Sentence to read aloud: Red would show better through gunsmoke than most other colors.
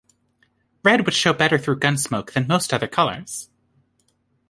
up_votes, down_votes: 2, 0